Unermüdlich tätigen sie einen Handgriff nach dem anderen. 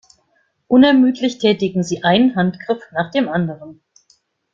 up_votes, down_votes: 2, 1